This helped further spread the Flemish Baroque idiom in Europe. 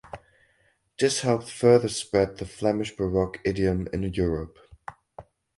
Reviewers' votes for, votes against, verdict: 4, 0, accepted